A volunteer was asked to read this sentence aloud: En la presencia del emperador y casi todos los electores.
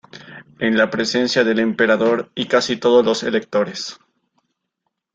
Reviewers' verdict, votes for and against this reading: accepted, 2, 0